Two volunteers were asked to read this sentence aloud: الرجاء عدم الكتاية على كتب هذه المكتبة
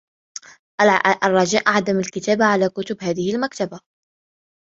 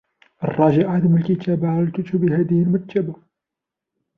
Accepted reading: first